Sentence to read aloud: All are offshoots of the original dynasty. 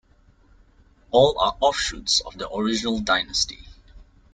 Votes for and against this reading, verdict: 2, 0, accepted